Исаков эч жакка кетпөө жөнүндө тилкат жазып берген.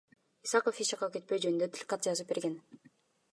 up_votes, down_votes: 3, 0